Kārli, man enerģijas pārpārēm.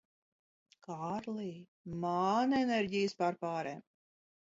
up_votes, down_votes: 0, 2